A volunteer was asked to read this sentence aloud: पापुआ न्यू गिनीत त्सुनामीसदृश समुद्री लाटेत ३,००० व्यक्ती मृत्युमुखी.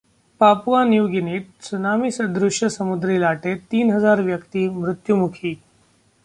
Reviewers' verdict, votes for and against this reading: rejected, 0, 2